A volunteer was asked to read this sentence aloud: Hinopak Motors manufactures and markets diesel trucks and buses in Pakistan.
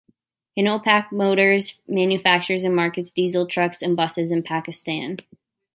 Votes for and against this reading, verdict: 2, 1, accepted